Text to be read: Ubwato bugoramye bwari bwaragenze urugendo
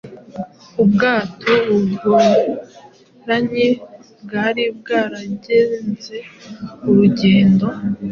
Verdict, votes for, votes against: accepted, 2, 0